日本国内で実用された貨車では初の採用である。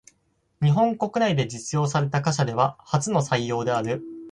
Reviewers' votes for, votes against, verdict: 2, 4, rejected